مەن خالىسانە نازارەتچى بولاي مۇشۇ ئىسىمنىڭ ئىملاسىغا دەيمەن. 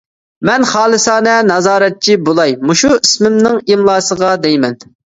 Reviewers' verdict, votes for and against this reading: accepted, 2, 1